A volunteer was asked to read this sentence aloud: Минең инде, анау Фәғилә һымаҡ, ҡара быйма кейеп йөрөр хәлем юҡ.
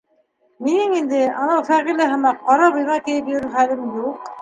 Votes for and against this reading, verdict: 1, 3, rejected